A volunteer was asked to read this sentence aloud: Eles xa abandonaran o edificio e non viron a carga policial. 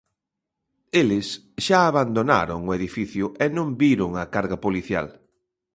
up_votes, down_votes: 0, 2